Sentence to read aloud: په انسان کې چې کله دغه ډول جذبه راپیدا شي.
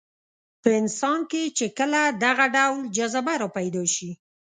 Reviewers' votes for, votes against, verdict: 0, 2, rejected